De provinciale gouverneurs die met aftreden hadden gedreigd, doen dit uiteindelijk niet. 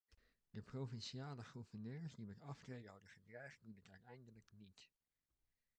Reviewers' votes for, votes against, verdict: 1, 2, rejected